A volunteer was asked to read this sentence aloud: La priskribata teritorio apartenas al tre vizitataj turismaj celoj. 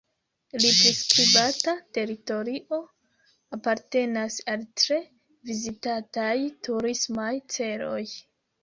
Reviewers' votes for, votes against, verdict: 0, 2, rejected